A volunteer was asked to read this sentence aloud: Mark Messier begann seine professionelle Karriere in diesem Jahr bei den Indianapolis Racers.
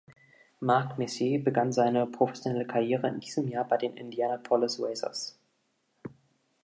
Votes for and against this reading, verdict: 1, 2, rejected